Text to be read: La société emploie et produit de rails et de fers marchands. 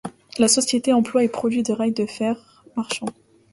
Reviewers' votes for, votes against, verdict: 0, 2, rejected